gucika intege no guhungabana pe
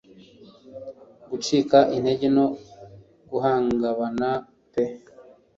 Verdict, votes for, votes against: rejected, 1, 2